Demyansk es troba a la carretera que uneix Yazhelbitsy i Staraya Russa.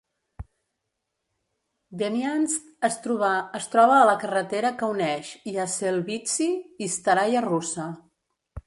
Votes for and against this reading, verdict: 0, 2, rejected